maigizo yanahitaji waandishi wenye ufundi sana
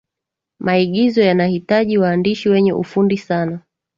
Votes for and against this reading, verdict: 2, 0, accepted